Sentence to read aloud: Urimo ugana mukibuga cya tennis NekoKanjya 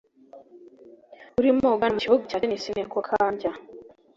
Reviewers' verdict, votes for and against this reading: rejected, 0, 2